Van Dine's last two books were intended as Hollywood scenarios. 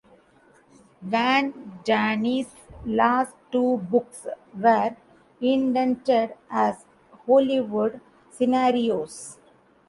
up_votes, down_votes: 0, 2